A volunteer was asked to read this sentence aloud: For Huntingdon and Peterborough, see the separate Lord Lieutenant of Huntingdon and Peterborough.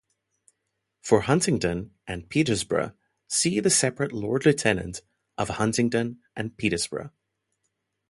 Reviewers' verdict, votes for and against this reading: rejected, 0, 2